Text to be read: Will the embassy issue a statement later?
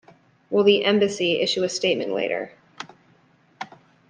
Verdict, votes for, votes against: accepted, 2, 0